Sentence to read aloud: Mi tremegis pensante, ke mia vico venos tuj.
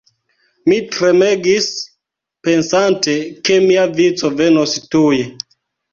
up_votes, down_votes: 2, 1